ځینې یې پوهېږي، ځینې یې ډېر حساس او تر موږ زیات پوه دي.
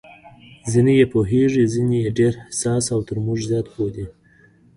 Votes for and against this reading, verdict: 2, 1, accepted